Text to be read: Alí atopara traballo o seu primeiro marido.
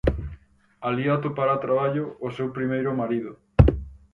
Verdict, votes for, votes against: accepted, 4, 2